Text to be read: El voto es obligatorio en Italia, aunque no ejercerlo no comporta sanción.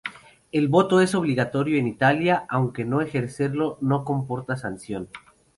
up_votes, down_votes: 2, 0